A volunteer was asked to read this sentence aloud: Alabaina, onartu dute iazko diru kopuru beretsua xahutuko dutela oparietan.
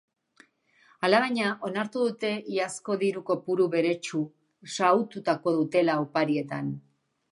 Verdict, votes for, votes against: rejected, 0, 2